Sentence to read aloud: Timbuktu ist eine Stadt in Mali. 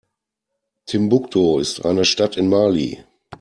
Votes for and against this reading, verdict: 2, 0, accepted